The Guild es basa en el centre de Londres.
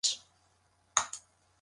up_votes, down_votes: 0, 6